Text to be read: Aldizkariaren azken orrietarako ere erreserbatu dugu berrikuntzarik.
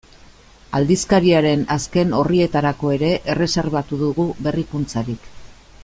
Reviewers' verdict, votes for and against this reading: accepted, 2, 0